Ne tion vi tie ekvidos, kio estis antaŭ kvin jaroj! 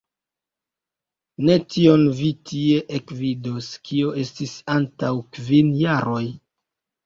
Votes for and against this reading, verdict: 1, 2, rejected